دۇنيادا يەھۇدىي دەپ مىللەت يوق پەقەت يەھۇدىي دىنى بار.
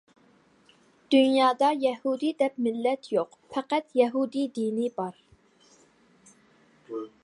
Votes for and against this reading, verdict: 2, 0, accepted